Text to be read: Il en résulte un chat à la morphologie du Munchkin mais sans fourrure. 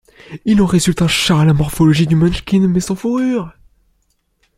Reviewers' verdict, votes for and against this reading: rejected, 0, 2